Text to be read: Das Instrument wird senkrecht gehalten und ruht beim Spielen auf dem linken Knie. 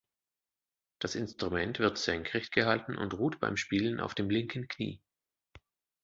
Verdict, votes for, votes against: accepted, 2, 0